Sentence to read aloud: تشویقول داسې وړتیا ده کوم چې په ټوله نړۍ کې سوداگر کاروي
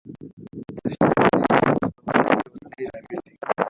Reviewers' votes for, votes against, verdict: 0, 2, rejected